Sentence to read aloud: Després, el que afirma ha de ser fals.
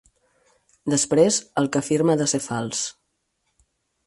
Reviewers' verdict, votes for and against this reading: accepted, 4, 0